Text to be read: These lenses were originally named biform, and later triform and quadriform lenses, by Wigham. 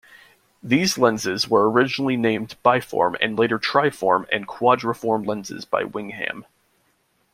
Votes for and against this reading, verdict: 0, 2, rejected